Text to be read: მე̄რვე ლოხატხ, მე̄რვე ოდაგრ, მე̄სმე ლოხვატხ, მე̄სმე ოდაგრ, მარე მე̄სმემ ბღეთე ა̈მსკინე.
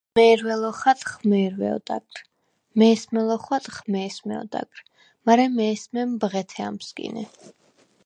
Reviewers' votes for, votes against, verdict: 4, 0, accepted